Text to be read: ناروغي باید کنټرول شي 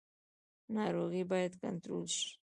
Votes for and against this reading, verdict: 2, 0, accepted